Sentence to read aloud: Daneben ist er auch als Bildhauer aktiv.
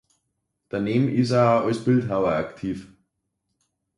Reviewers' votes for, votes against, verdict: 1, 2, rejected